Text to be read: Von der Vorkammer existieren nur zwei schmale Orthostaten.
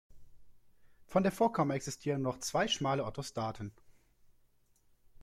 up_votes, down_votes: 2, 0